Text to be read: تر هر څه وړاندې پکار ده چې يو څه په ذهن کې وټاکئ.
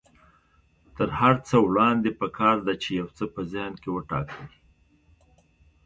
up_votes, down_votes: 2, 0